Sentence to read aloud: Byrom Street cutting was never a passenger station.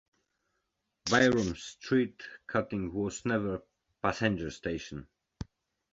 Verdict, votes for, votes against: rejected, 0, 2